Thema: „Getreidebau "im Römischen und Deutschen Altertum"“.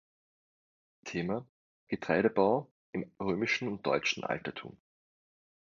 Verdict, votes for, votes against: accepted, 2, 0